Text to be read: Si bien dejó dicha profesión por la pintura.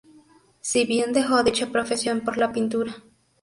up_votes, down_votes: 4, 0